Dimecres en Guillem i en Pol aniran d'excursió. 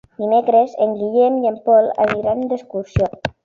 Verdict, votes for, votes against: rejected, 0, 2